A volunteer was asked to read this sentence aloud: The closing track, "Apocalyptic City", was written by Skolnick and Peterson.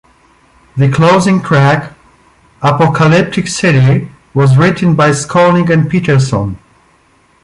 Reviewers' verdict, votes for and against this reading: accepted, 2, 0